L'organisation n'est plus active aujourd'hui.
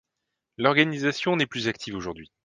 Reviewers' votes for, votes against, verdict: 2, 0, accepted